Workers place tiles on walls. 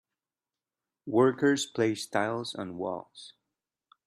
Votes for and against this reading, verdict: 2, 0, accepted